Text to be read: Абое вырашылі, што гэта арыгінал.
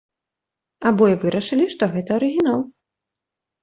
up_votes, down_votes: 2, 0